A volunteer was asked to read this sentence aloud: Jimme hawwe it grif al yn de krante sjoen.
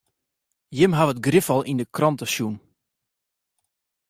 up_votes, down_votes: 1, 2